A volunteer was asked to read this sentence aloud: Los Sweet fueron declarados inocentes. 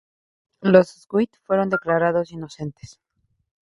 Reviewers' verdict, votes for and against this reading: accepted, 2, 0